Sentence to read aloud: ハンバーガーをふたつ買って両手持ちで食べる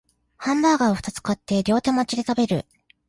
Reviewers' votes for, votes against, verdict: 2, 0, accepted